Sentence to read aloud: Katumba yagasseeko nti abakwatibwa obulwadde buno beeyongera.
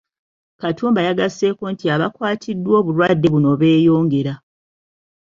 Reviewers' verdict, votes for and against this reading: rejected, 1, 2